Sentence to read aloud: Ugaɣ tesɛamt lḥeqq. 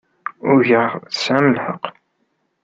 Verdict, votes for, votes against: accepted, 2, 0